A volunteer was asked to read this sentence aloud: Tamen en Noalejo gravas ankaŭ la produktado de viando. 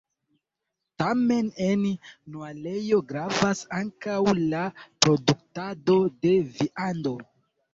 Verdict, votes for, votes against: rejected, 1, 2